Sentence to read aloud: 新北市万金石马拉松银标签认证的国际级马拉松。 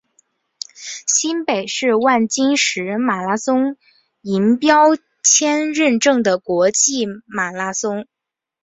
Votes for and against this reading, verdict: 1, 2, rejected